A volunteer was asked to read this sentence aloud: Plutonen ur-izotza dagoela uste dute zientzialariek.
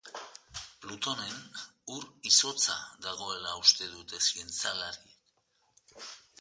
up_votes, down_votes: 0, 2